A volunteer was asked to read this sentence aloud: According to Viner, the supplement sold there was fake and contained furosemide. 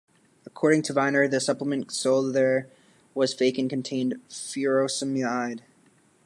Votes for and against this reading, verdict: 1, 2, rejected